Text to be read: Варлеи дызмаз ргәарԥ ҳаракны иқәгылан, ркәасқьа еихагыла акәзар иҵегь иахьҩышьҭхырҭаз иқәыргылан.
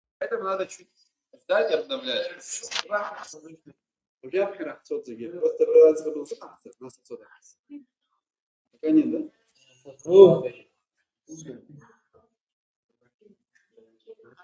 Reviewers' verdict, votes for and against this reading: rejected, 0, 6